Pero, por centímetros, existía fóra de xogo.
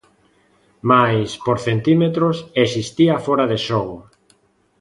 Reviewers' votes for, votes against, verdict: 0, 2, rejected